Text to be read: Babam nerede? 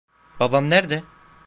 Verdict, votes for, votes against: rejected, 0, 2